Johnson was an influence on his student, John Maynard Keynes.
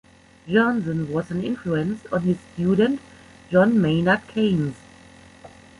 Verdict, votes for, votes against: rejected, 0, 2